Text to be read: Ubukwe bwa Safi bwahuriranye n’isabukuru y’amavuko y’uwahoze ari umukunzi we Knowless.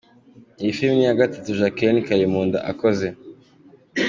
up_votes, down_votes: 1, 2